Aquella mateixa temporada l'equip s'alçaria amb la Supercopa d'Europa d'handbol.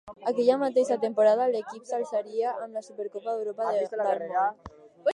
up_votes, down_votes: 0, 2